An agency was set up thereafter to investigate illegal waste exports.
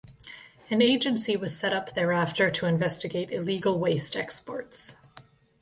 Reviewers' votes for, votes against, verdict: 2, 0, accepted